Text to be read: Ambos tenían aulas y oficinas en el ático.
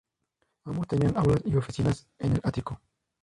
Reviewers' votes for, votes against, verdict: 0, 2, rejected